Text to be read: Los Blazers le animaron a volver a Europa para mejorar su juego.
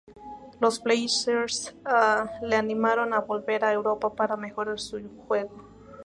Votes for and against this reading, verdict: 2, 0, accepted